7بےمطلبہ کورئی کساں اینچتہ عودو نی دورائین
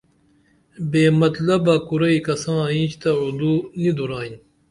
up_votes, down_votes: 0, 2